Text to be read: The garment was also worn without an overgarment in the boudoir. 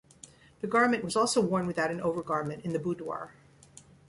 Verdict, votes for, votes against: rejected, 1, 2